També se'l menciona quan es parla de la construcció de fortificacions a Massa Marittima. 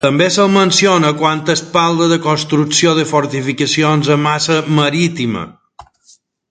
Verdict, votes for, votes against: accepted, 2, 0